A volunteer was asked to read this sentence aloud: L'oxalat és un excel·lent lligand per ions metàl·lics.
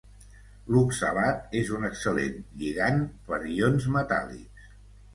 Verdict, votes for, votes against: accepted, 2, 0